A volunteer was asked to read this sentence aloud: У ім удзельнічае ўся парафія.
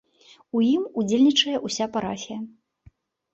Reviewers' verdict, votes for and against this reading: accepted, 2, 0